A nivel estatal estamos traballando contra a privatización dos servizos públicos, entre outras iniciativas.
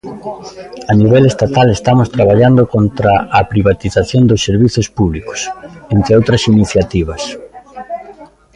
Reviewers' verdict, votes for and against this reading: accepted, 2, 0